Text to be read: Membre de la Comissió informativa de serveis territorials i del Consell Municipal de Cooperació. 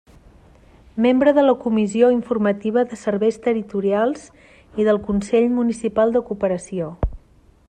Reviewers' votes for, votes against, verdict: 0, 2, rejected